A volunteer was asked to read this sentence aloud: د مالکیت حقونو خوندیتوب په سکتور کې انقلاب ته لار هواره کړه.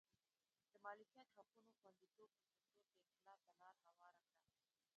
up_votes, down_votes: 1, 2